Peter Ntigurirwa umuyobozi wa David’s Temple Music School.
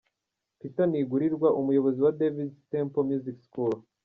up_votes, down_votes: 0, 2